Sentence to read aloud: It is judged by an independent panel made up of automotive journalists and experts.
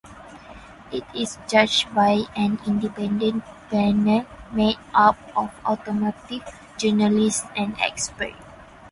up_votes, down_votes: 4, 0